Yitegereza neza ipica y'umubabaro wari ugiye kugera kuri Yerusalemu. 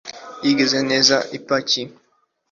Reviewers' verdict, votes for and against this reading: rejected, 0, 2